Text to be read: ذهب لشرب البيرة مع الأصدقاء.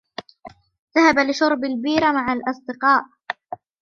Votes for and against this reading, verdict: 2, 0, accepted